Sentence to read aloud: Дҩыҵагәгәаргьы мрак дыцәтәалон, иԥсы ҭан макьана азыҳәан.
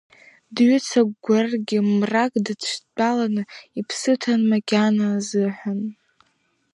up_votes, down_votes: 1, 2